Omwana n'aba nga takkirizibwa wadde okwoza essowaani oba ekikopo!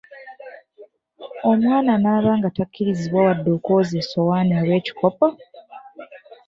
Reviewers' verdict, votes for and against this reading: rejected, 1, 2